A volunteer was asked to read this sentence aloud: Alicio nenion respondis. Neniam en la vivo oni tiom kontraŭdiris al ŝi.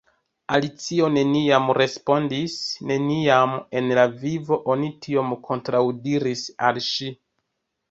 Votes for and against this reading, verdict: 0, 2, rejected